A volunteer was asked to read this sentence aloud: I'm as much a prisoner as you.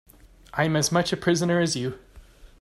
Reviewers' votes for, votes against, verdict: 2, 0, accepted